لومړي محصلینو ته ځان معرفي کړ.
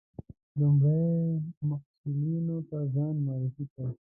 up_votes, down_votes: 0, 2